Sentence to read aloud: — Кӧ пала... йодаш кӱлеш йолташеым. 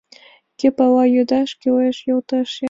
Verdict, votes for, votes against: accepted, 3, 0